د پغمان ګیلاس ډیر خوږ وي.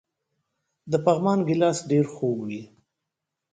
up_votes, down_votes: 2, 0